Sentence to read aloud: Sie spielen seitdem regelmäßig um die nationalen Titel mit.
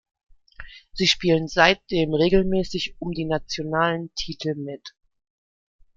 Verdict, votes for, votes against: accepted, 2, 0